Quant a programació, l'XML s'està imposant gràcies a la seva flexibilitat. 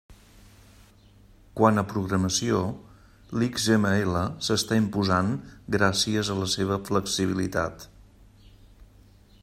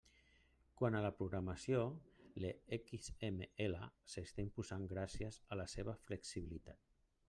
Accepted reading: first